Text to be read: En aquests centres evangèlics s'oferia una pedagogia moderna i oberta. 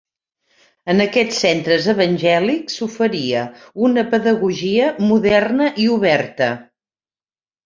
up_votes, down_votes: 3, 0